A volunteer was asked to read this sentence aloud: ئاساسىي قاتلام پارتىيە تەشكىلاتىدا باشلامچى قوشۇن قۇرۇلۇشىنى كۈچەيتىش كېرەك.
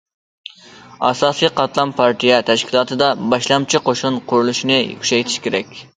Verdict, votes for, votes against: accepted, 2, 0